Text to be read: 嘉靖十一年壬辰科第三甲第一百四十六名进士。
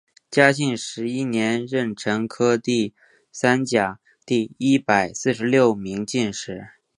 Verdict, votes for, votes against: accepted, 3, 2